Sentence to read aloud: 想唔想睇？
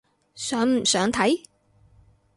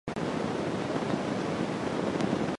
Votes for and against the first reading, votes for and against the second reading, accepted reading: 6, 0, 0, 2, first